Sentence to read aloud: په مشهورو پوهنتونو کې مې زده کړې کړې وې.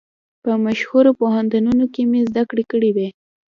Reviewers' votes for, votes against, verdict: 1, 2, rejected